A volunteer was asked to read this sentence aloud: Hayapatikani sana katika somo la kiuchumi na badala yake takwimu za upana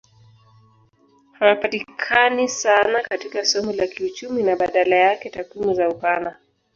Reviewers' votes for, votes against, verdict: 2, 3, rejected